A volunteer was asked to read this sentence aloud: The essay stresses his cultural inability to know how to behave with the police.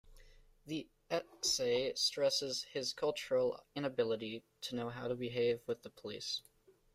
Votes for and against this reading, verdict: 0, 2, rejected